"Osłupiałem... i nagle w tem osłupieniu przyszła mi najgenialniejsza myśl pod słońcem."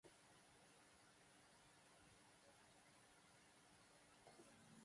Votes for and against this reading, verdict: 0, 2, rejected